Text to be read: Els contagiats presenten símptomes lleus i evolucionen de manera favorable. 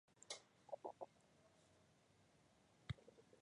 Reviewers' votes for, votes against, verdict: 0, 2, rejected